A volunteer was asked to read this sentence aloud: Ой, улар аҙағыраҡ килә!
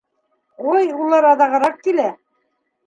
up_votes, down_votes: 2, 0